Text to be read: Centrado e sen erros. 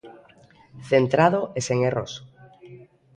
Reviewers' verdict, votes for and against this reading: rejected, 1, 2